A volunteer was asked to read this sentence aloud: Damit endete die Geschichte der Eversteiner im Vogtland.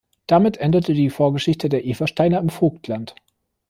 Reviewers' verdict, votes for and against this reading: rejected, 1, 2